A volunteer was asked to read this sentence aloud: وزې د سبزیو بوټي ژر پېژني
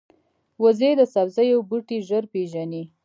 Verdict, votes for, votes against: accepted, 2, 0